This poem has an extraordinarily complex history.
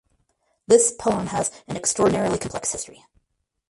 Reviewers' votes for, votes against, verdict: 0, 4, rejected